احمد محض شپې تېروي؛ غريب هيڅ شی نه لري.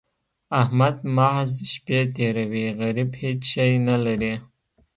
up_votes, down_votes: 0, 2